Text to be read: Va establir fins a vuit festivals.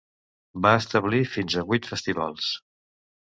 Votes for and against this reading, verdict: 2, 0, accepted